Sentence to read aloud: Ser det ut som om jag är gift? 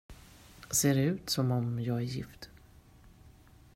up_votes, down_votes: 2, 1